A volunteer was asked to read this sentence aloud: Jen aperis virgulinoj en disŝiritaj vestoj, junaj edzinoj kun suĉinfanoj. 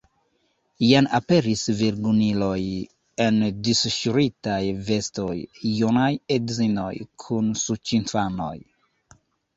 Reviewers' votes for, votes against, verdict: 0, 2, rejected